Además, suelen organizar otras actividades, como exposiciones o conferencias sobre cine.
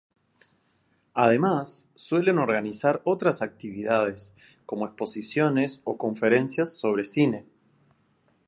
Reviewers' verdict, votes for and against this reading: accepted, 2, 0